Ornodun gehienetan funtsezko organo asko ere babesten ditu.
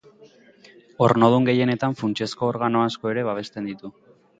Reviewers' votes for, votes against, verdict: 2, 0, accepted